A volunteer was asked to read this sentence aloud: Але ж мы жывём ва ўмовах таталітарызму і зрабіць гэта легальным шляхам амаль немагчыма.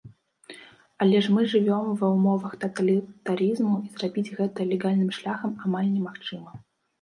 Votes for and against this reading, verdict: 1, 2, rejected